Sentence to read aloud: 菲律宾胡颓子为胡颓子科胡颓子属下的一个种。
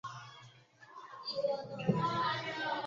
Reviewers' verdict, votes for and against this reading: rejected, 0, 3